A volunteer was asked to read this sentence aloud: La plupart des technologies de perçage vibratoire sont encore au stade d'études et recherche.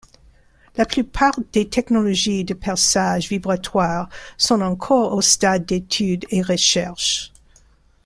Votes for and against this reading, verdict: 1, 2, rejected